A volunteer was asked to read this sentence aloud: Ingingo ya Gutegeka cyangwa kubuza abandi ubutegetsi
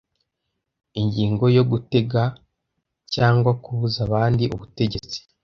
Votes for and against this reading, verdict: 1, 2, rejected